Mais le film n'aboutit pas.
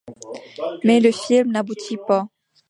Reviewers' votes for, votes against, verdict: 0, 2, rejected